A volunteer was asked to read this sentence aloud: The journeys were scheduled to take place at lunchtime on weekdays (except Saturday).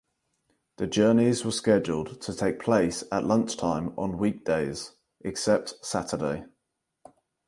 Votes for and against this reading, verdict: 4, 0, accepted